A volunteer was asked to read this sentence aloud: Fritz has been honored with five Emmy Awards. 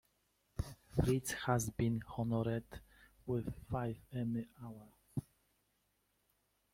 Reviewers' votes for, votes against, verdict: 1, 2, rejected